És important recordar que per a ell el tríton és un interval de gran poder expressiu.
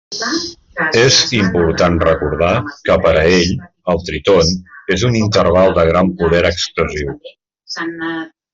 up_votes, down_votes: 0, 2